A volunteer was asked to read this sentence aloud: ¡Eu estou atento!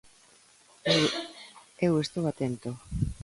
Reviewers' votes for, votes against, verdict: 1, 2, rejected